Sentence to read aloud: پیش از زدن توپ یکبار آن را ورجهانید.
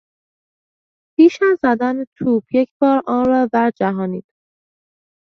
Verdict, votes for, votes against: accepted, 2, 0